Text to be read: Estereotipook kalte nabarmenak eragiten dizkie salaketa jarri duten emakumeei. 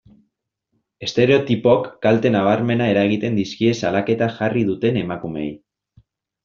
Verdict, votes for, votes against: rejected, 1, 2